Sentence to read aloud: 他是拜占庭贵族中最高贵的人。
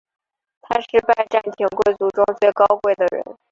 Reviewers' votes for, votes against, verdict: 2, 1, accepted